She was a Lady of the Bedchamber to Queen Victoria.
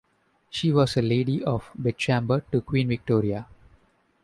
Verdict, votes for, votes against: rejected, 0, 2